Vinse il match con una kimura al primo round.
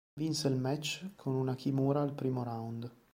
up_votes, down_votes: 2, 0